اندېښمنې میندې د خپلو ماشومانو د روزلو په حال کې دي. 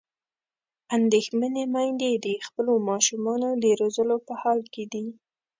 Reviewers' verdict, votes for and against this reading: accepted, 2, 0